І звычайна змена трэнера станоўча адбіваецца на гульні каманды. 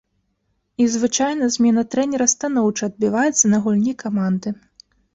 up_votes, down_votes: 2, 0